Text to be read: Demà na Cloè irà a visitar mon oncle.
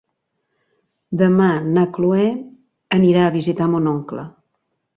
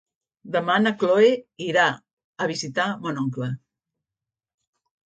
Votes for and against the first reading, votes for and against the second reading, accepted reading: 1, 3, 2, 0, second